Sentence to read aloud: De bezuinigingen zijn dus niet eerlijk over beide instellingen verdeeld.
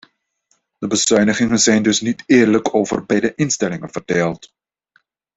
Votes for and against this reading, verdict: 2, 0, accepted